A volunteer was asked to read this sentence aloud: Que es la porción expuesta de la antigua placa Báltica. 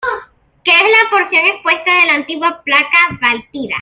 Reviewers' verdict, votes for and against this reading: rejected, 0, 2